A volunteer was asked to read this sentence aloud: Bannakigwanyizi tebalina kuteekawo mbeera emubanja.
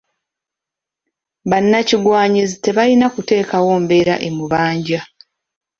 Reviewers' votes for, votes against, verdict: 2, 0, accepted